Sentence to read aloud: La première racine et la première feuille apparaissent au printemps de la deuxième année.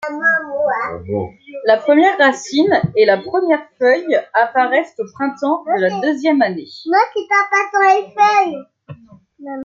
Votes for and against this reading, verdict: 1, 2, rejected